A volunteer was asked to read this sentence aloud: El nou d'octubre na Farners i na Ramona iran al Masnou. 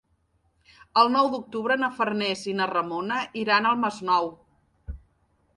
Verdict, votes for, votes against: accepted, 3, 0